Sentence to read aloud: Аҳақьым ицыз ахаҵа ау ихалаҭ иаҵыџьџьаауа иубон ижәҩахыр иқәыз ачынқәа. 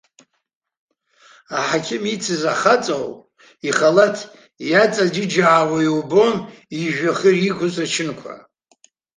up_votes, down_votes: 0, 2